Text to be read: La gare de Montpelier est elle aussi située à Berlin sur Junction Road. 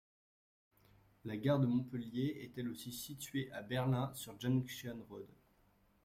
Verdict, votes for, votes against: accepted, 2, 0